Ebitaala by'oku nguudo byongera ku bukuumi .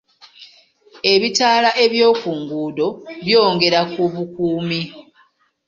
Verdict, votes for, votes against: accepted, 3, 1